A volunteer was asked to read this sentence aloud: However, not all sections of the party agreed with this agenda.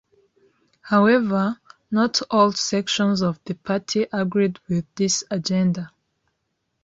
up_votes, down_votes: 2, 0